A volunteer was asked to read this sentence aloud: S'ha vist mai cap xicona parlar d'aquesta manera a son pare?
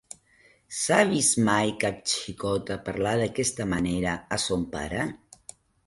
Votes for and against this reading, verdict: 0, 2, rejected